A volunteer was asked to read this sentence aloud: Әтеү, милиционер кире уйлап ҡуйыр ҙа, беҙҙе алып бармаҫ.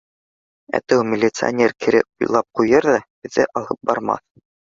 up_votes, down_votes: 2, 0